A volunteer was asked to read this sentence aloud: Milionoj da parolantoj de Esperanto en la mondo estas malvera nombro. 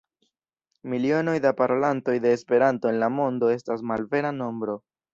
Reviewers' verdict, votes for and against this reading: rejected, 1, 2